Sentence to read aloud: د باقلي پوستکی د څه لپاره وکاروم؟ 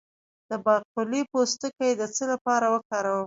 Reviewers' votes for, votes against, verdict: 1, 2, rejected